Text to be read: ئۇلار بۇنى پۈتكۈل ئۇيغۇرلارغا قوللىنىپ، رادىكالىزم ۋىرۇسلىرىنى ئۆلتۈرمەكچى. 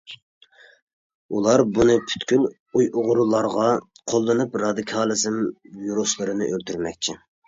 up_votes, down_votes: 1, 2